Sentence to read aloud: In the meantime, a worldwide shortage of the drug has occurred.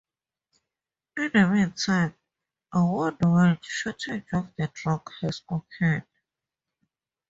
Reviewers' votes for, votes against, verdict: 2, 2, rejected